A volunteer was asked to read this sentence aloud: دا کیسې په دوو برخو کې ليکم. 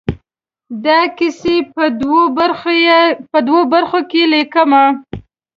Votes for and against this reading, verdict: 2, 0, accepted